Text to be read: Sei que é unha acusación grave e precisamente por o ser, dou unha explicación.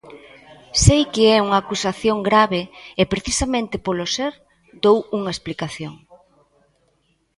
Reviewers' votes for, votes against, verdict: 1, 2, rejected